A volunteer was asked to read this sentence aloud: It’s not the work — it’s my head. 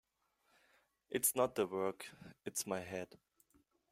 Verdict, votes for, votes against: accepted, 2, 0